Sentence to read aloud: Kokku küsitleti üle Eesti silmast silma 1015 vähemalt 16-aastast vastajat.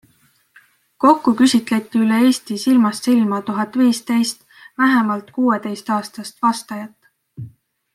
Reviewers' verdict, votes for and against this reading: rejected, 0, 2